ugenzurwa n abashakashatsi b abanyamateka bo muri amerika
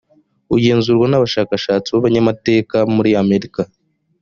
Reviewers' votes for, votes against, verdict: 1, 2, rejected